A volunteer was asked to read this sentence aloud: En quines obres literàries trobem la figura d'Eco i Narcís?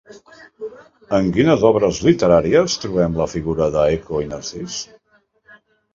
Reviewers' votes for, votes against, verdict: 0, 2, rejected